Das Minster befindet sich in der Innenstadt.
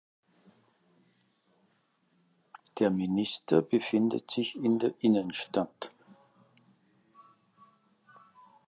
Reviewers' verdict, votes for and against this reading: rejected, 0, 2